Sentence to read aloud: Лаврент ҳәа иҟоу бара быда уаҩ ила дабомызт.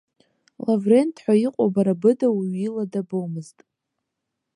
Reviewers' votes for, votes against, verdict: 2, 0, accepted